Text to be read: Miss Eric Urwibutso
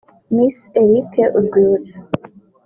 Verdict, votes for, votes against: rejected, 1, 2